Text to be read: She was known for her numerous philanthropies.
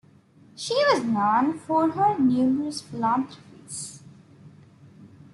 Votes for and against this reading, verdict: 2, 0, accepted